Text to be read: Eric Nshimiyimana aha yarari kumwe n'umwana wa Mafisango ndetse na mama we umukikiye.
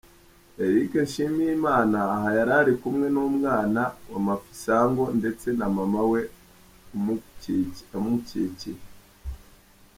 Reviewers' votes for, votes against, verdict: 0, 3, rejected